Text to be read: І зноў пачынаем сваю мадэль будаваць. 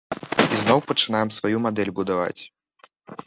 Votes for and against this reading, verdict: 0, 2, rejected